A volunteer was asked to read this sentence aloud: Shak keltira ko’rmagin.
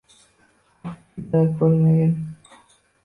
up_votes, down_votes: 0, 2